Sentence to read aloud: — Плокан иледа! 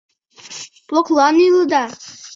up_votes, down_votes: 0, 2